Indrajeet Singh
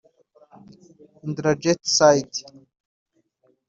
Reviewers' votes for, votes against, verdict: 0, 2, rejected